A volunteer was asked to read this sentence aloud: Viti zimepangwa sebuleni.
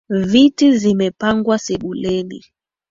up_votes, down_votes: 7, 1